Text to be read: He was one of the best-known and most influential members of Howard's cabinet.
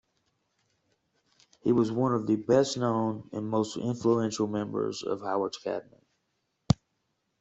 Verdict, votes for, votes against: accepted, 2, 1